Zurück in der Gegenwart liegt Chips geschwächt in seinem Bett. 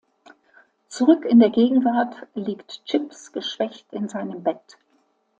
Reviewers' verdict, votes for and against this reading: accepted, 2, 1